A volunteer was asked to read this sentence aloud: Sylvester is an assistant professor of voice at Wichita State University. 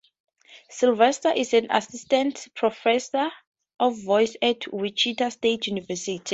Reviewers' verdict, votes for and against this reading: accepted, 2, 0